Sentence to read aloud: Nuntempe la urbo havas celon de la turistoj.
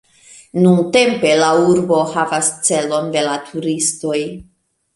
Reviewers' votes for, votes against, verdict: 2, 1, accepted